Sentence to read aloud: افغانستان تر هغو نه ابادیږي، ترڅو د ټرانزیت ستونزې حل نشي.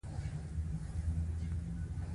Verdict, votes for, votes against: accepted, 2, 0